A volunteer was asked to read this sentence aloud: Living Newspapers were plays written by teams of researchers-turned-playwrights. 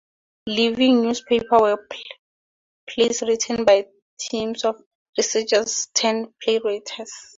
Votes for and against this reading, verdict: 0, 4, rejected